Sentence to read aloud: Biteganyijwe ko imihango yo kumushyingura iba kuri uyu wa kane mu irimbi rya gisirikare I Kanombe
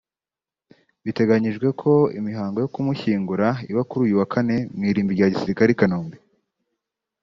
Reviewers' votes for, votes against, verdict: 3, 0, accepted